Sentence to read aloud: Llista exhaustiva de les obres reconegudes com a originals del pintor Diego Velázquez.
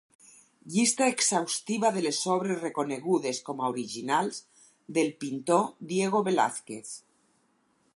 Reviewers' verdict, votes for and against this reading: accepted, 4, 0